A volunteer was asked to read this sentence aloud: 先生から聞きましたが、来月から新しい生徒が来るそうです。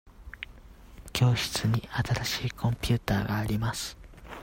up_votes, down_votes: 0, 2